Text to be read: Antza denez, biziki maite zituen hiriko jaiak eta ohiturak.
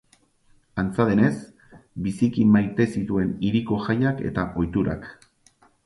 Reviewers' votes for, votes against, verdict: 6, 0, accepted